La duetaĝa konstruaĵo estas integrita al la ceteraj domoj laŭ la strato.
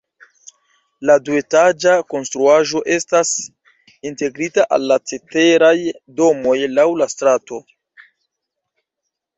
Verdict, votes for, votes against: accepted, 2, 0